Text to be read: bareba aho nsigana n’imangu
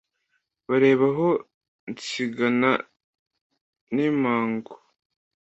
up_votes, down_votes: 2, 0